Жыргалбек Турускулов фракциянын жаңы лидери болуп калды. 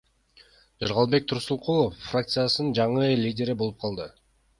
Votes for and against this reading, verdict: 1, 2, rejected